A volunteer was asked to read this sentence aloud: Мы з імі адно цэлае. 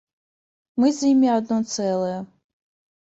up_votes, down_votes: 2, 0